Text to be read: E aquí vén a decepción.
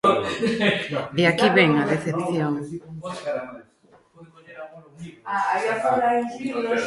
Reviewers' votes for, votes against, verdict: 1, 2, rejected